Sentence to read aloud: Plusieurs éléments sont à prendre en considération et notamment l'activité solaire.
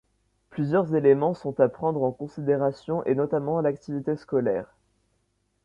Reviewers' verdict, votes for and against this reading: rejected, 1, 2